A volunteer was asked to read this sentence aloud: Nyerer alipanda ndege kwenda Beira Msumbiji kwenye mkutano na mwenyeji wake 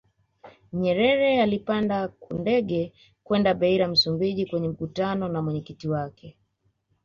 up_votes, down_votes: 2, 1